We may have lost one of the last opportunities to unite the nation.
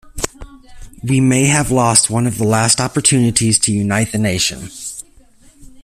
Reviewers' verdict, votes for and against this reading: accepted, 2, 0